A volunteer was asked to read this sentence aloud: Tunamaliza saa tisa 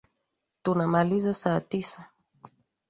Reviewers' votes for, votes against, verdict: 2, 0, accepted